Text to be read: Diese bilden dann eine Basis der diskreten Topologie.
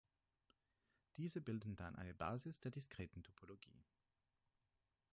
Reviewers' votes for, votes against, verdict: 2, 4, rejected